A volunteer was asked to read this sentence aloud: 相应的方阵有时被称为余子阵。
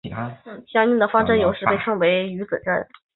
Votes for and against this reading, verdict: 5, 1, accepted